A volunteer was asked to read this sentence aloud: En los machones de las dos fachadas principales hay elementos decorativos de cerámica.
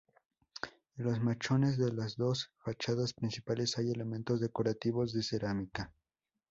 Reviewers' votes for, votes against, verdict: 4, 0, accepted